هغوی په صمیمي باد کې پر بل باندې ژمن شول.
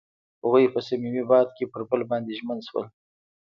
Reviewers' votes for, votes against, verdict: 1, 2, rejected